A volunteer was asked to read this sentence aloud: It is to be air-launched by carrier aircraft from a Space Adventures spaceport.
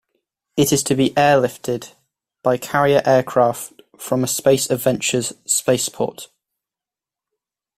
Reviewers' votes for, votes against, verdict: 1, 2, rejected